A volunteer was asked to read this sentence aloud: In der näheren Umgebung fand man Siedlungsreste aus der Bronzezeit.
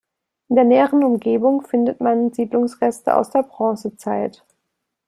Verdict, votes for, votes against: rejected, 0, 2